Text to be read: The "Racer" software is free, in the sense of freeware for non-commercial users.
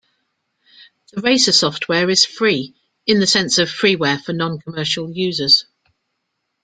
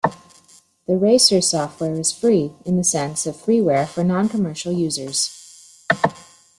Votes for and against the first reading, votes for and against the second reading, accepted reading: 1, 2, 2, 0, second